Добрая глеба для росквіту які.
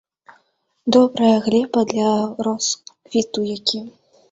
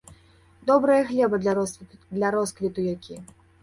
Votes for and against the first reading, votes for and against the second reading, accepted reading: 2, 0, 0, 2, first